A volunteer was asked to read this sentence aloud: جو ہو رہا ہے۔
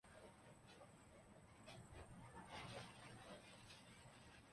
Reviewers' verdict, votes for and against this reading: rejected, 1, 2